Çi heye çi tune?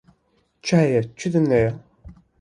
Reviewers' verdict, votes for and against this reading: rejected, 1, 2